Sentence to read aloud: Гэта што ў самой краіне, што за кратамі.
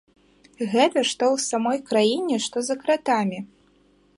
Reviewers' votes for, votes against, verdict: 0, 2, rejected